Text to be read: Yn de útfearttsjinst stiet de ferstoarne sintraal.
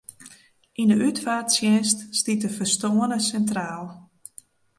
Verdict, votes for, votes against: rejected, 1, 2